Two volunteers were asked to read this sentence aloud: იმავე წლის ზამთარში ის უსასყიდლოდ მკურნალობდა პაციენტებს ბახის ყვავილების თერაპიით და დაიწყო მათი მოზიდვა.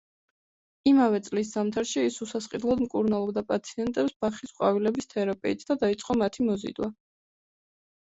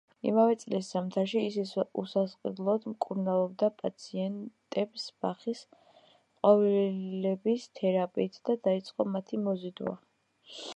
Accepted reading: first